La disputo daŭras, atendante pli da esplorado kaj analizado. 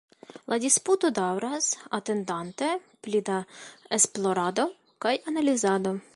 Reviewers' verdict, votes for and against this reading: accepted, 2, 1